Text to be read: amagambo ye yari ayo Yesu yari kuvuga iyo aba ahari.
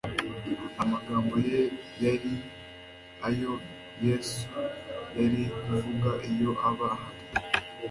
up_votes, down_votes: 2, 0